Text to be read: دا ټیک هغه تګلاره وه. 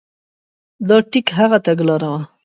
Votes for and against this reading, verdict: 2, 0, accepted